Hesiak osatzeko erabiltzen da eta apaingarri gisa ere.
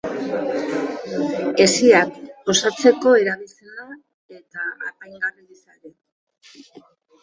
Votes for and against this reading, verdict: 0, 2, rejected